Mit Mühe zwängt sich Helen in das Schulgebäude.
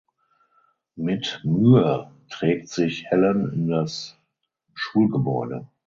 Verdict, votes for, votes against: rejected, 0, 6